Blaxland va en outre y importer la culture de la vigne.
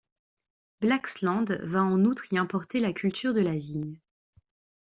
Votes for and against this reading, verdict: 2, 0, accepted